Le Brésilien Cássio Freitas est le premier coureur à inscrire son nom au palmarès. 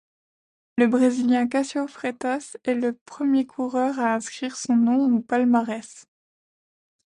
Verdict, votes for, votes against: accepted, 2, 0